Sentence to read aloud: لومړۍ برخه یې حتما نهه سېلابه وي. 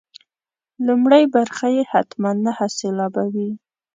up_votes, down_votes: 2, 0